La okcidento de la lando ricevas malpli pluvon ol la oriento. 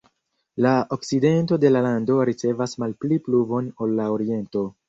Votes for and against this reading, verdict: 0, 2, rejected